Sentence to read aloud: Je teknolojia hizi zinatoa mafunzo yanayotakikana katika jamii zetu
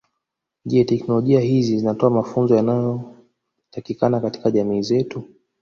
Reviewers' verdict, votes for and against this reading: rejected, 0, 2